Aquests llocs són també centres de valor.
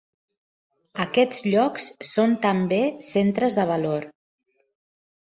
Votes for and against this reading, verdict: 3, 0, accepted